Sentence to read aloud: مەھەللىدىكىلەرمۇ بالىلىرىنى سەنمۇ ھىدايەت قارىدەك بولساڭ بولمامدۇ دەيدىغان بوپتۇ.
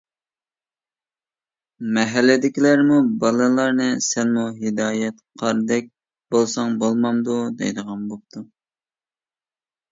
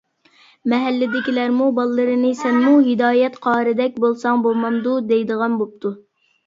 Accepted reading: second